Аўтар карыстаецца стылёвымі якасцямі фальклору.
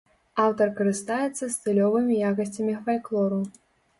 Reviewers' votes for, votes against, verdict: 2, 0, accepted